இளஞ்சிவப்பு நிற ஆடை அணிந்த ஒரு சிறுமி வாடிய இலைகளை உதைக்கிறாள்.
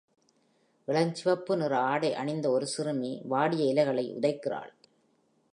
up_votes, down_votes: 2, 0